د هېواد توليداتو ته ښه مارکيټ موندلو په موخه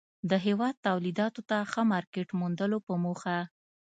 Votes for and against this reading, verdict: 2, 0, accepted